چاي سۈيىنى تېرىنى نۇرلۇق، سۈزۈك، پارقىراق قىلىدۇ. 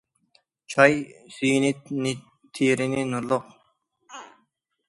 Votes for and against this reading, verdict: 0, 2, rejected